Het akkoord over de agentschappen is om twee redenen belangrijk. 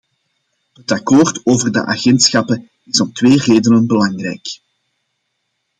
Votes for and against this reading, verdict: 2, 0, accepted